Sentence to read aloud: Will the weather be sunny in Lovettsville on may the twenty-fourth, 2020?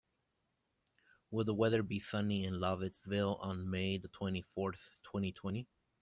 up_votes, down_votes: 0, 2